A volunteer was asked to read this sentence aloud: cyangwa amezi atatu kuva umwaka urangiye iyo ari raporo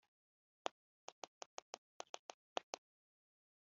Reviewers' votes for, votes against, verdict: 2, 3, rejected